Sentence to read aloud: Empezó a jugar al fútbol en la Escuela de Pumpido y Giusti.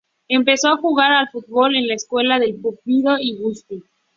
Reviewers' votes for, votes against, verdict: 2, 0, accepted